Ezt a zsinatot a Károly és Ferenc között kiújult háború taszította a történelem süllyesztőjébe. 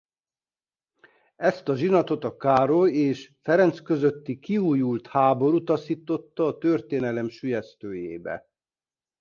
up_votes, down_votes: 0, 2